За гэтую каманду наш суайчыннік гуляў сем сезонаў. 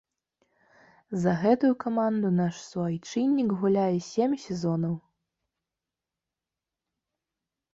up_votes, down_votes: 0, 2